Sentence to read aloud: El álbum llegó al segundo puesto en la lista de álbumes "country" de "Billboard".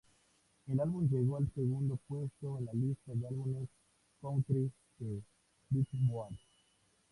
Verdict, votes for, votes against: accepted, 2, 0